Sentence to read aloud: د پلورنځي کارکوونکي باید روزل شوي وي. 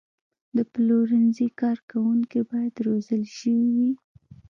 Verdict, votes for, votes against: rejected, 1, 2